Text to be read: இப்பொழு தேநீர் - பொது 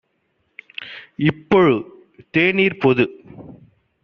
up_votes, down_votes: 2, 0